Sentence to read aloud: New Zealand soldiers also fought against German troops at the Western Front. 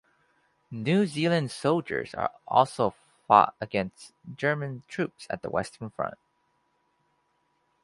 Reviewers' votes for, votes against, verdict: 0, 2, rejected